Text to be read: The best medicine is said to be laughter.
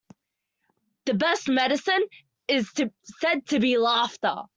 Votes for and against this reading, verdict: 0, 2, rejected